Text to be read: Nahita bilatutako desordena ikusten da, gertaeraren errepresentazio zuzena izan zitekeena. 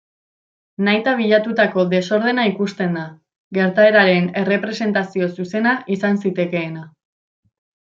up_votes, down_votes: 2, 0